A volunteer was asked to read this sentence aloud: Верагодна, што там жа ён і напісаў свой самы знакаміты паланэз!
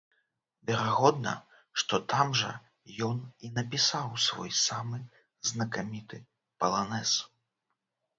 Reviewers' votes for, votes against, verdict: 0, 2, rejected